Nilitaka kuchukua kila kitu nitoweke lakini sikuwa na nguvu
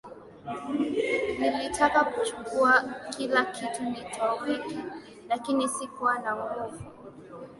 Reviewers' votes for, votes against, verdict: 1, 2, rejected